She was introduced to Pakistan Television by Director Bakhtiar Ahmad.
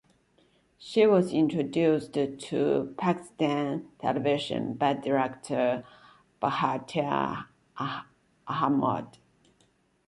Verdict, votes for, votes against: rejected, 1, 2